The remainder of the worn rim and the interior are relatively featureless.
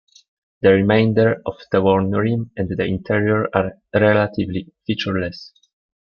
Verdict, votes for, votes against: rejected, 0, 2